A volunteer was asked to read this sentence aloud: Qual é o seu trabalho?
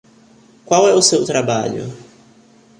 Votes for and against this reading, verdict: 3, 0, accepted